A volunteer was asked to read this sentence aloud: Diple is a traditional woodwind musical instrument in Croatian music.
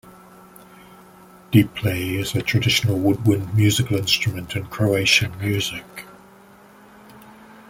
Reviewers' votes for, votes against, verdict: 2, 0, accepted